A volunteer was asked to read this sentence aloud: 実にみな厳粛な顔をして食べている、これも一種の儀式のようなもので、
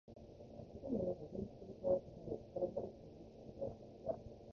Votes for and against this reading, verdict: 0, 2, rejected